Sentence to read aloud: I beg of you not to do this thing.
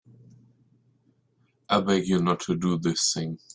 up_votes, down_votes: 3, 8